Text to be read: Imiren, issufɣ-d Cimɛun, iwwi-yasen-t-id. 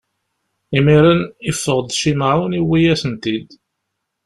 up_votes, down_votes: 1, 2